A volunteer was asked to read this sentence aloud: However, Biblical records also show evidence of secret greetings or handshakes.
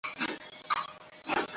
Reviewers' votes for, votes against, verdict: 0, 3, rejected